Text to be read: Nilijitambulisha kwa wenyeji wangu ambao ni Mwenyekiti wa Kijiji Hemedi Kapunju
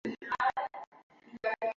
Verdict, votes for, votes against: rejected, 0, 2